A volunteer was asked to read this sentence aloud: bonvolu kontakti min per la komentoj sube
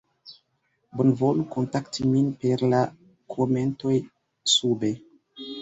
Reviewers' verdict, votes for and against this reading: accepted, 2, 1